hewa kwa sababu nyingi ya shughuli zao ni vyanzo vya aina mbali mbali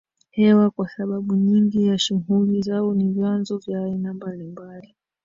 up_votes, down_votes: 0, 2